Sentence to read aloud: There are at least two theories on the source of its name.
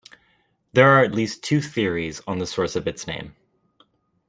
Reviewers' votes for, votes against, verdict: 2, 0, accepted